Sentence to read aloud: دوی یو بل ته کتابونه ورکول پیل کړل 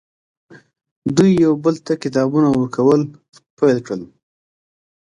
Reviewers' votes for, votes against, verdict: 3, 0, accepted